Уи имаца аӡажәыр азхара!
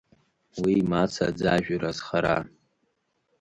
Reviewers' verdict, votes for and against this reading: accepted, 3, 1